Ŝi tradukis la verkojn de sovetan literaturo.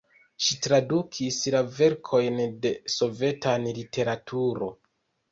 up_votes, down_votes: 2, 1